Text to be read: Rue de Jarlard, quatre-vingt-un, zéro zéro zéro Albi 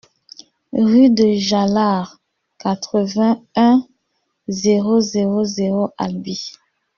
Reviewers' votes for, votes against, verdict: 2, 1, accepted